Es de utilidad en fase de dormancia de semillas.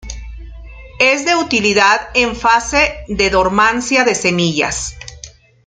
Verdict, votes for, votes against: accepted, 2, 0